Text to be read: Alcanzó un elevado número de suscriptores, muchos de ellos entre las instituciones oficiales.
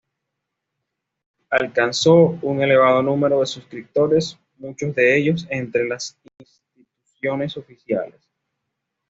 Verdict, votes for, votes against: accepted, 2, 0